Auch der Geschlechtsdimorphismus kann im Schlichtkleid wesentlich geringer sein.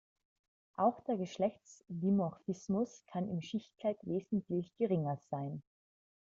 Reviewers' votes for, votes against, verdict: 0, 2, rejected